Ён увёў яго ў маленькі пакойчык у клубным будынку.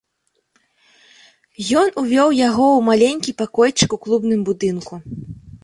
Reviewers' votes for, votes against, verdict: 2, 0, accepted